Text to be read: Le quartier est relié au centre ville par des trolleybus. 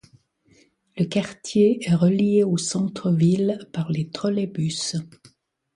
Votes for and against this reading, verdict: 2, 0, accepted